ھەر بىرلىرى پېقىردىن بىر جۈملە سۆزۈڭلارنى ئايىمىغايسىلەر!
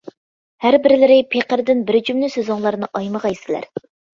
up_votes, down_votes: 2, 0